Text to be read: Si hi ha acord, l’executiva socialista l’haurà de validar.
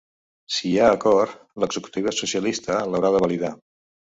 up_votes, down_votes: 2, 0